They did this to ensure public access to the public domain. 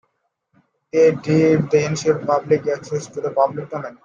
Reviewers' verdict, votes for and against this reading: rejected, 0, 2